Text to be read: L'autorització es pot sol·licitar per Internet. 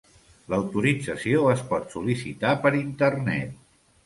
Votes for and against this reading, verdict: 2, 0, accepted